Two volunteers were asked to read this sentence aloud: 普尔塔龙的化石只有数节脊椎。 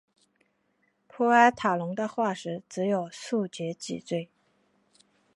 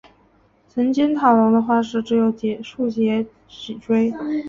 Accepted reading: first